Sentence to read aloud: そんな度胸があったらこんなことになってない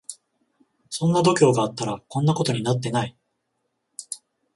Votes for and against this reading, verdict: 14, 0, accepted